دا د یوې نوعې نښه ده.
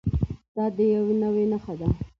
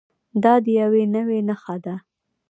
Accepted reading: first